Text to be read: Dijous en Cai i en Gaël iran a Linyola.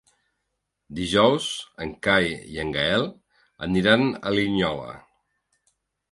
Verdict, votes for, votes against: rejected, 0, 2